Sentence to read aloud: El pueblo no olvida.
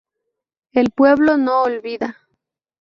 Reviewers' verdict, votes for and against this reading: accepted, 2, 0